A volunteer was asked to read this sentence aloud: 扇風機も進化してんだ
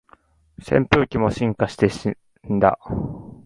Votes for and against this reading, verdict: 0, 2, rejected